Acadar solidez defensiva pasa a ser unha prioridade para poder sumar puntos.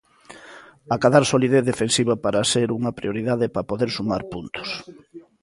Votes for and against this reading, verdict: 0, 2, rejected